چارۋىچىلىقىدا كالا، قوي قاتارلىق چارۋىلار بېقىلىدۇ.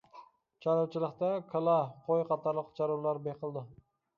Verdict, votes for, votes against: rejected, 0, 2